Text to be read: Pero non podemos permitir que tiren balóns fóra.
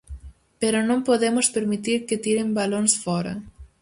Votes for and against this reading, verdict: 4, 0, accepted